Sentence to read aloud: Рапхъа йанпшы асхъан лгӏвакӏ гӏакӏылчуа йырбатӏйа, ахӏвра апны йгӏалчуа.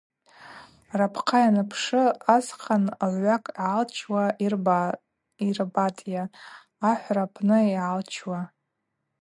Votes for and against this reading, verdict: 0, 4, rejected